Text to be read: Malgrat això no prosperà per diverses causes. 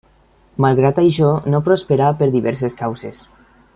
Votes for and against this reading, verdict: 3, 0, accepted